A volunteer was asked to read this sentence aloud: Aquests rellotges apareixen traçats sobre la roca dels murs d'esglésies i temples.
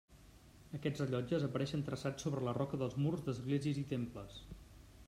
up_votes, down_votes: 1, 2